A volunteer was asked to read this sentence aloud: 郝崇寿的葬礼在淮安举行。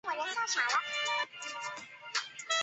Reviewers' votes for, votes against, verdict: 0, 2, rejected